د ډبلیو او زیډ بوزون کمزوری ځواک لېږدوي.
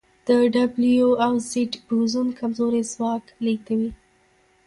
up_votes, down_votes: 1, 2